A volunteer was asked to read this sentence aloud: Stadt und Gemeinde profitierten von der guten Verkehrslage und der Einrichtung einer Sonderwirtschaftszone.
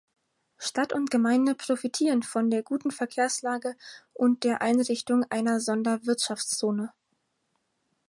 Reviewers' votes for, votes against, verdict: 2, 4, rejected